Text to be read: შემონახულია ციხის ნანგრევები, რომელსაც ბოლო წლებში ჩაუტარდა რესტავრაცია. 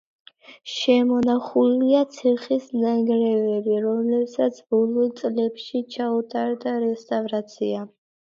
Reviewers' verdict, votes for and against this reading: accepted, 2, 0